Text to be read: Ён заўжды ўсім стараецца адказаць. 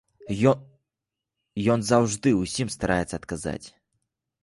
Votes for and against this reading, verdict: 0, 2, rejected